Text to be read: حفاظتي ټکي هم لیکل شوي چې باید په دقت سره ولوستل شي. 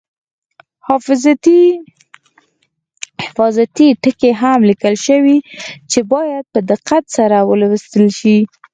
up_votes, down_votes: 4, 0